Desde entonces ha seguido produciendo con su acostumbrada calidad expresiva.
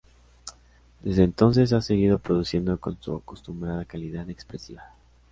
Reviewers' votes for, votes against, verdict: 2, 0, accepted